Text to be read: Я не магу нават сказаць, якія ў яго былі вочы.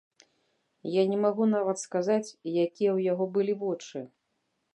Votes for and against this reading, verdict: 2, 0, accepted